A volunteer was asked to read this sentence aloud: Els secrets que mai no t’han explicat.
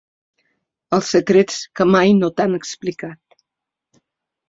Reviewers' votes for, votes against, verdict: 3, 0, accepted